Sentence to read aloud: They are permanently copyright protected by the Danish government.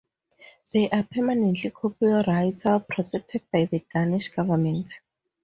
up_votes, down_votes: 2, 2